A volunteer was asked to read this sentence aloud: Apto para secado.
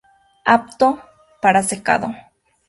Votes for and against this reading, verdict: 0, 2, rejected